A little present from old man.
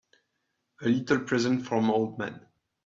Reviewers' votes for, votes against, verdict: 2, 1, accepted